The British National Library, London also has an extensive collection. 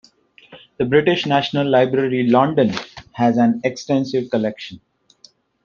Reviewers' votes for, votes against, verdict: 1, 2, rejected